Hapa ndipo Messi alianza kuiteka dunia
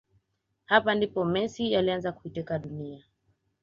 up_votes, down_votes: 4, 0